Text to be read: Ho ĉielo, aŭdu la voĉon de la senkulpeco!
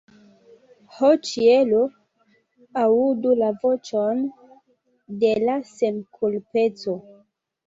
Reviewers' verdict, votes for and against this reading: rejected, 1, 2